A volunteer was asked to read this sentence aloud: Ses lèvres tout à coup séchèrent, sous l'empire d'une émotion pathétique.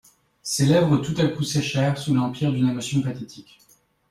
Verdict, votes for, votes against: accepted, 2, 0